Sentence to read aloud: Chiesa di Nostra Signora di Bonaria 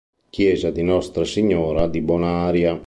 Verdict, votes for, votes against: accepted, 3, 0